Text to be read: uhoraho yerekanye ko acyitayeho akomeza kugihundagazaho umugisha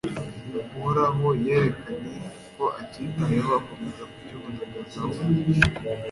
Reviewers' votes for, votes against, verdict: 1, 2, rejected